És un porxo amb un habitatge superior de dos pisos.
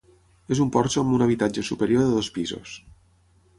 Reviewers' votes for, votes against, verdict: 6, 0, accepted